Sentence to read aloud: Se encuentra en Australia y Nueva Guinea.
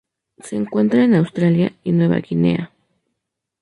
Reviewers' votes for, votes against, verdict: 4, 0, accepted